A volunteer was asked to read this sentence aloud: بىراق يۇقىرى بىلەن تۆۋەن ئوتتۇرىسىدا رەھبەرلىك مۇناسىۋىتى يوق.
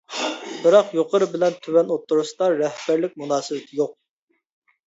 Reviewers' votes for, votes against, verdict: 2, 0, accepted